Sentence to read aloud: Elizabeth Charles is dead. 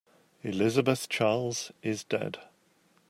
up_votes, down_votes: 2, 0